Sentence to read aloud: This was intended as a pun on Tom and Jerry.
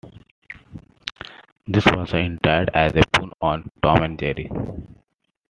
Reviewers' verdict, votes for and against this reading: rejected, 0, 2